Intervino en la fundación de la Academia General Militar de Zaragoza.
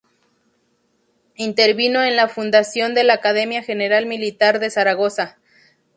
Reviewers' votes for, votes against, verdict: 2, 0, accepted